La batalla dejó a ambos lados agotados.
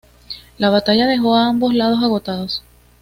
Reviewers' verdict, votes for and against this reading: accepted, 2, 0